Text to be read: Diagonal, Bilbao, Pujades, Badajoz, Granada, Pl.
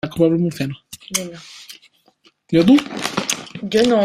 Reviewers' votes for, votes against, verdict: 0, 2, rejected